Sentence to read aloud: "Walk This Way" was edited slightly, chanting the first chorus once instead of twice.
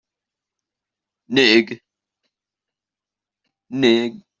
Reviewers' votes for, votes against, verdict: 0, 2, rejected